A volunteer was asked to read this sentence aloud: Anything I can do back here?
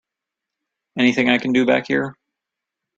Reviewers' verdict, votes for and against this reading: accepted, 3, 0